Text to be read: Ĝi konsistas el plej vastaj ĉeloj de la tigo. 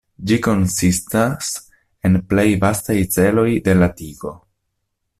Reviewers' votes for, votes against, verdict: 0, 2, rejected